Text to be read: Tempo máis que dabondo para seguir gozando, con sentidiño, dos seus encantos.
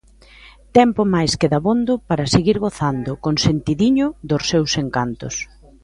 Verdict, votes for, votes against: accepted, 2, 0